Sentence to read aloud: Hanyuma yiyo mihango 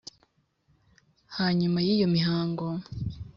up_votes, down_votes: 2, 0